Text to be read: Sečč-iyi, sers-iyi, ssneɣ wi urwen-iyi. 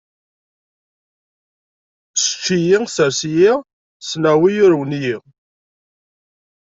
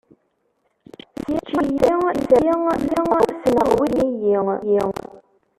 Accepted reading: first